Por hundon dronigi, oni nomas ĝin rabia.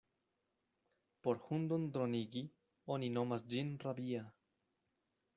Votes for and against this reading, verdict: 1, 2, rejected